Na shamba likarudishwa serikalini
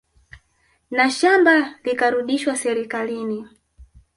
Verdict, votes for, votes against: accepted, 2, 1